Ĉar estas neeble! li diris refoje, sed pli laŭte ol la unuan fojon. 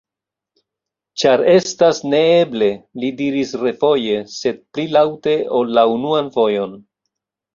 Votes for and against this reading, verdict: 0, 2, rejected